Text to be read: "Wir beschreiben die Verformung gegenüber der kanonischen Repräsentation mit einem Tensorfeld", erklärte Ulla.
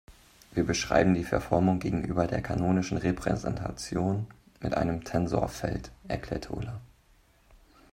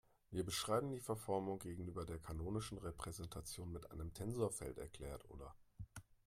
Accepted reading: first